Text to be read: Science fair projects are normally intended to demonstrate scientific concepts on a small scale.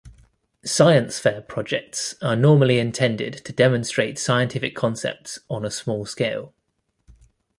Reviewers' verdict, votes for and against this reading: accepted, 2, 0